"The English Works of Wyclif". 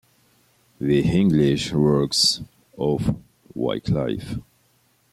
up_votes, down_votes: 2, 0